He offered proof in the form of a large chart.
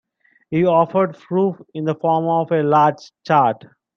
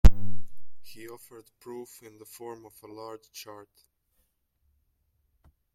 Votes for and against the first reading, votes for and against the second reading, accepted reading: 1, 2, 2, 0, second